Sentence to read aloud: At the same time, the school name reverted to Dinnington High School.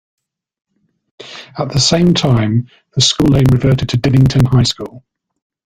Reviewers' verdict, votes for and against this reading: accepted, 2, 1